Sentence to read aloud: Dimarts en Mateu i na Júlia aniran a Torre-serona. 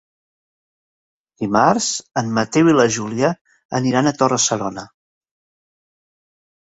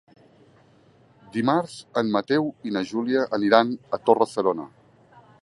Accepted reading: second